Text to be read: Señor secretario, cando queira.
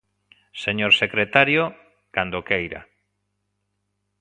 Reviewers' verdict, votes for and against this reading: accepted, 2, 0